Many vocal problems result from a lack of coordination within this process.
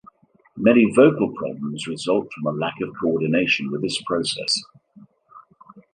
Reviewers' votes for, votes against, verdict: 0, 2, rejected